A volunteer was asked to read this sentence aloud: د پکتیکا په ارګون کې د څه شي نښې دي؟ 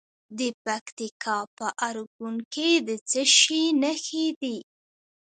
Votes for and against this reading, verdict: 1, 2, rejected